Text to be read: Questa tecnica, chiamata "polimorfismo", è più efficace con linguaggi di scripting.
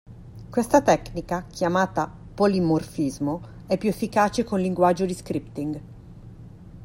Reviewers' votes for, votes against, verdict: 2, 0, accepted